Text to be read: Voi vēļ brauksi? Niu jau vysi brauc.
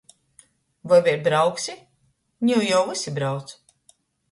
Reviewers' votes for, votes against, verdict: 2, 0, accepted